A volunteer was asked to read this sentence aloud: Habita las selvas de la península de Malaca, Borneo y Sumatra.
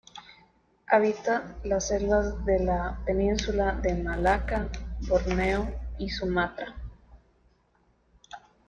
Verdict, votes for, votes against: accepted, 2, 0